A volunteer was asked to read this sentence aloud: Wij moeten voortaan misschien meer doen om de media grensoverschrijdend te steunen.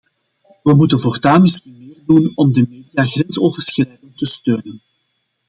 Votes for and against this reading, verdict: 0, 2, rejected